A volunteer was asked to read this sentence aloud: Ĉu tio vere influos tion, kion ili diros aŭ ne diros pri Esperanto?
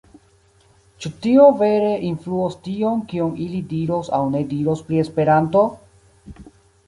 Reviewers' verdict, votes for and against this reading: rejected, 0, 2